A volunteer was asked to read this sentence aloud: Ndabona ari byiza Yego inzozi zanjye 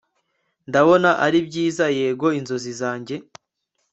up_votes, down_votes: 2, 3